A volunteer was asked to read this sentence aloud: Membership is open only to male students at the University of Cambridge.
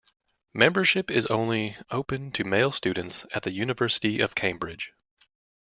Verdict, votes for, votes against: rejected, 1, 2